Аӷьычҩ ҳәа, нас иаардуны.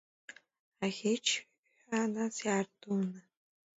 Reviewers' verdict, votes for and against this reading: rejected, 1, 2